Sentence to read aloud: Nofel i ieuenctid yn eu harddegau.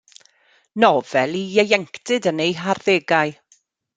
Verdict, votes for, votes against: accepted, 2, 0